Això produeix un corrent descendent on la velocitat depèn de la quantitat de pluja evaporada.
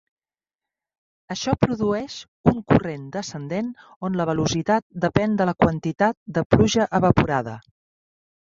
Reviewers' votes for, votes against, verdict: 3, 1, accepted